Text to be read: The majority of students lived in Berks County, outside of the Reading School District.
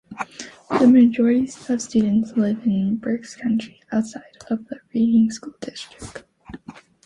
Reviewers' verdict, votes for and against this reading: accepted, 2, 1